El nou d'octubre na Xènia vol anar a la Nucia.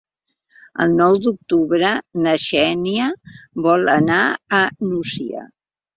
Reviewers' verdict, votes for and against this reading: rejected, 1, 2